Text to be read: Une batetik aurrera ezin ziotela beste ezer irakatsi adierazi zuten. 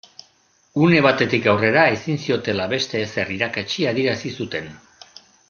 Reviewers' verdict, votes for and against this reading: accepted, 2, 0